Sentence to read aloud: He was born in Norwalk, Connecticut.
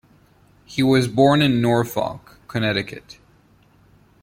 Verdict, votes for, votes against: rejected, 1, 2